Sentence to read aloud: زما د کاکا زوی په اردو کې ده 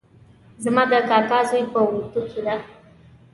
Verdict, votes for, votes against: accepted, 3, 0